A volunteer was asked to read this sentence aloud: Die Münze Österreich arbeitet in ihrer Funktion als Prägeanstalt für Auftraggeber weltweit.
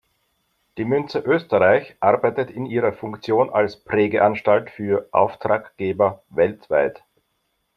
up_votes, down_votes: 2, 0